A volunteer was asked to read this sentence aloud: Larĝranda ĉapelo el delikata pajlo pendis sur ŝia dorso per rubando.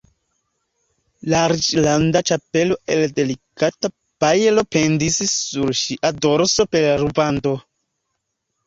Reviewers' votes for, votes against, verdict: 2, 0, accepted